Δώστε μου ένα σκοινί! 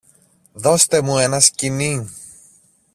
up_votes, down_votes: 2, 0